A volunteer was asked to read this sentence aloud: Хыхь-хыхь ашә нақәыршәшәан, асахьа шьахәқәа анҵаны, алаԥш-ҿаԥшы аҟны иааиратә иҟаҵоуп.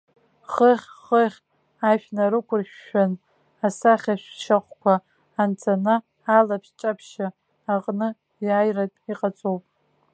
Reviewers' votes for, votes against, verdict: 0, 2, rejected